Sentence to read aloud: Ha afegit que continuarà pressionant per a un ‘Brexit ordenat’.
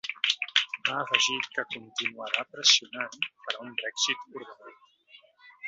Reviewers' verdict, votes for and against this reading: rejected, 1, 2